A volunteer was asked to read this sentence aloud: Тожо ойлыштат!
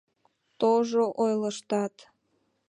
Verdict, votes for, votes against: accepted, 2, 0